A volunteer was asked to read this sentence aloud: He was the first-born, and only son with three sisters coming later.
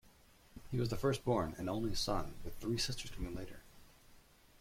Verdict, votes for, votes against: accepted, 2, 0